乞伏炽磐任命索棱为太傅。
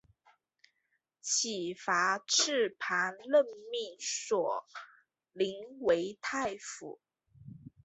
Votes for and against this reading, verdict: 4, 1, accepted